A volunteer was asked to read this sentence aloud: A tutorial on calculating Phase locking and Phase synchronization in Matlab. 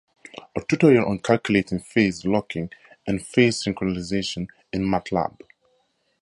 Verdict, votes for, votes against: accepted, 4, 0